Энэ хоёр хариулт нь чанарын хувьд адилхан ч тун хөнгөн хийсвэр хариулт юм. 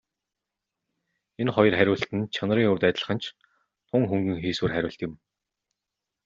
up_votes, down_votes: 2, 0